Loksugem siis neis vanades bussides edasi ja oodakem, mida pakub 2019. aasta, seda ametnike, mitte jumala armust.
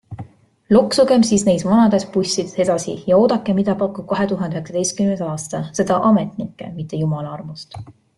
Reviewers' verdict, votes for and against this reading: rejected, 0, 2